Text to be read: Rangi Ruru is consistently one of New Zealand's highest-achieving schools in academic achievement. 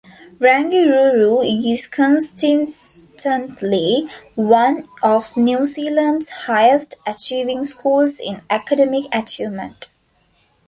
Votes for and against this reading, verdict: 1, 2, rejected